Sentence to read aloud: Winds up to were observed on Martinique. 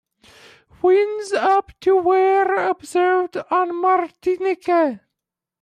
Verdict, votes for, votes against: rejected, 0, 2